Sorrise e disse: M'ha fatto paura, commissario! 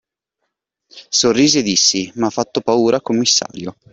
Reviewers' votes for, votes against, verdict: 2, 1, accepted